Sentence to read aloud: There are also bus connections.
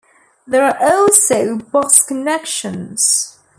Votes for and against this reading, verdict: 1, 2, rejected